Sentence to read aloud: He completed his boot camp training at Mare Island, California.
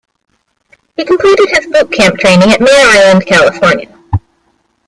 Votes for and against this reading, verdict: 2, 0, accepted